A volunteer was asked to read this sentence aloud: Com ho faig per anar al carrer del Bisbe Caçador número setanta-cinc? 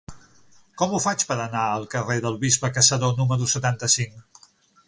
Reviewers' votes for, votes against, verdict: 9, 0, accepted